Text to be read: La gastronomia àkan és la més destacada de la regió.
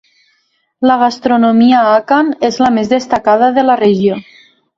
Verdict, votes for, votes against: accepted, 3, 0